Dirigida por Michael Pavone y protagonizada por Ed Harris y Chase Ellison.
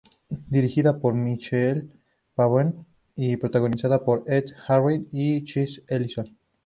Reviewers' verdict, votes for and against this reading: accepted, 2, 0